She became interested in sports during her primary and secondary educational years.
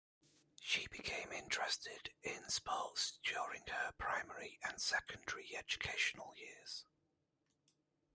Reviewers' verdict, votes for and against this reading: rejected, 0, 2